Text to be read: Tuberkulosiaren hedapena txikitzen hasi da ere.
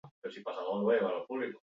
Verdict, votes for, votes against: rejected, 0, 4